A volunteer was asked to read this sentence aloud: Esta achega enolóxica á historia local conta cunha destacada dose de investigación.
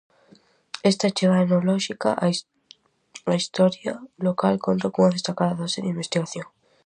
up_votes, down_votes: 0, 2